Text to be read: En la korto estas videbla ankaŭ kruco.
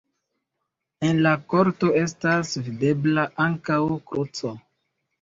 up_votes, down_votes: 1, 2